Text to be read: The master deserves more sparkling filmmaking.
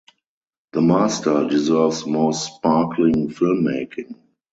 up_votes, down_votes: 2, 2